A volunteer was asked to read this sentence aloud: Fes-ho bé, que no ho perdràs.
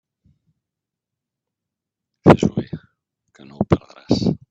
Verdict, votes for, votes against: rejected, 1, 2